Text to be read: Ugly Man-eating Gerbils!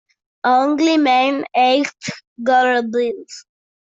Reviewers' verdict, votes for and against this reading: rejected, 0, 2